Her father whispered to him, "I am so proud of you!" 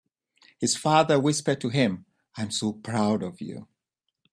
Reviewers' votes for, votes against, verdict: 1, 2, rejected